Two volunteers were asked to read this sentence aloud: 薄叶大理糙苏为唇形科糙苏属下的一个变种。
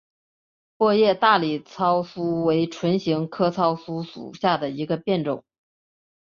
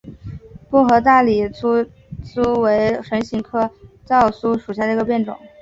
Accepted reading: first